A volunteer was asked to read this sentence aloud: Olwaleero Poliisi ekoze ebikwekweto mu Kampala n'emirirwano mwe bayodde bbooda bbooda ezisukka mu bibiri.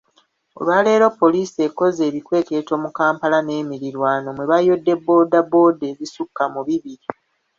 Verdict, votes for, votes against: rejected, 1, 2